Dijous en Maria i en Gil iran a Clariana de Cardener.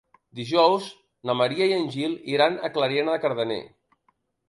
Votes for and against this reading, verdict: 1, 2, rejected